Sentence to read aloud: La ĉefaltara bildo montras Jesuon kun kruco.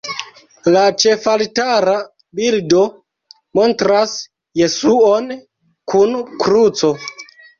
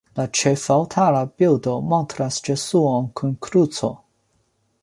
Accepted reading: second